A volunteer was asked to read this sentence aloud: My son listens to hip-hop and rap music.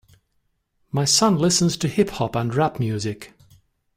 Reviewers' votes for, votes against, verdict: 2, 0, accepted